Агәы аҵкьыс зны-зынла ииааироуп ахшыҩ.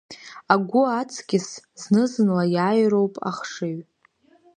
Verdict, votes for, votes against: accepted, 2, 1